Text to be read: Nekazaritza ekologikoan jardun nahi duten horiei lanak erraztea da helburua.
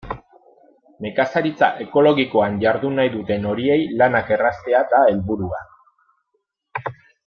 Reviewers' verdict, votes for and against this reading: accepted, 2, 0